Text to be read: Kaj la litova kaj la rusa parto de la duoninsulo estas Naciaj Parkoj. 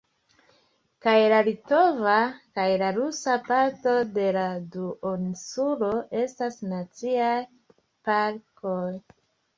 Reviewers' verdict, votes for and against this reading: accepted, 3, 0